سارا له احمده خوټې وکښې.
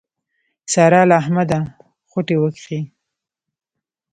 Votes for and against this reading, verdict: 2, 0, accepted